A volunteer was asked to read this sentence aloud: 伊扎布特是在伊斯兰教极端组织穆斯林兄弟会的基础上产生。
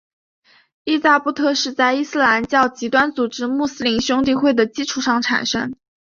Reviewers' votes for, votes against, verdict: 6, 0, accepted